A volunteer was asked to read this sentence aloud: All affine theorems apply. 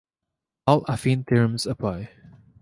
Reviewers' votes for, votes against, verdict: 2, 0, accepted